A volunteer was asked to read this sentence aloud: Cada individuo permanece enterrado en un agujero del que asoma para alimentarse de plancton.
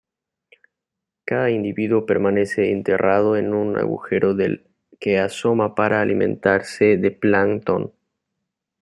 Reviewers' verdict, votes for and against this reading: accepted, 2, 1